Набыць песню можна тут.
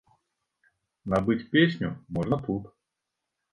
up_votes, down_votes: 3, 0